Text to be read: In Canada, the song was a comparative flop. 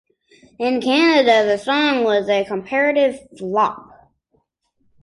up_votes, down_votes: 3, 0